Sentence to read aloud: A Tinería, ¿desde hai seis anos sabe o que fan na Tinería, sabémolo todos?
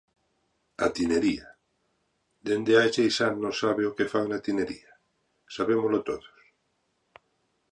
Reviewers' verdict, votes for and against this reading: rejected, 0, 4